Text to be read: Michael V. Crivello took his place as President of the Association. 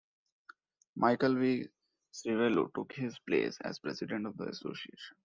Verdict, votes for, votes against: rejected, 1, 2